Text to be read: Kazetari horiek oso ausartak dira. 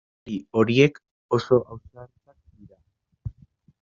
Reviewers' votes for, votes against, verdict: 0, 2, rejected